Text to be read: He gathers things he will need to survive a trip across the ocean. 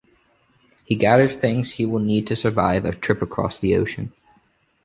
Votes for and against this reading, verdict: 2, 0, accepted